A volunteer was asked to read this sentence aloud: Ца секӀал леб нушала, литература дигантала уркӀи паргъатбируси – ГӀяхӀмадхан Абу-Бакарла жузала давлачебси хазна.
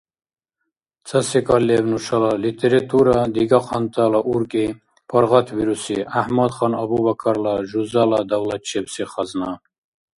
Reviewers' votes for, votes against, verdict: 0, 2, rejected